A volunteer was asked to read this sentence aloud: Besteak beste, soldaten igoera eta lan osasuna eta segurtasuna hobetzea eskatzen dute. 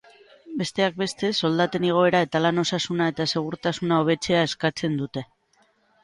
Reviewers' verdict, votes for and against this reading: rejected, 3, 6